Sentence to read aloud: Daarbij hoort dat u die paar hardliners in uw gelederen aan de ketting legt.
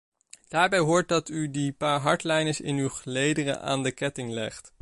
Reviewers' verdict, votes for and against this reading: accepted, 2, 0